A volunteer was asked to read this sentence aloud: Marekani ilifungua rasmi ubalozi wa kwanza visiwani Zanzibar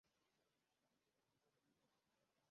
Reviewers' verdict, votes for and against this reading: rejected, 0, 2